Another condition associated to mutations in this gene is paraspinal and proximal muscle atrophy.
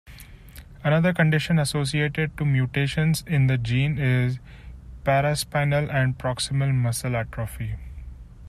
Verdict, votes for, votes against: rejected, 1, 2